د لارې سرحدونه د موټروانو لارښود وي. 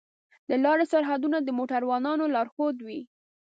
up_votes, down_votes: 4, 0